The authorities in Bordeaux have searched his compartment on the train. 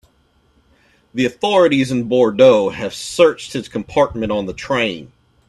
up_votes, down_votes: 2, 0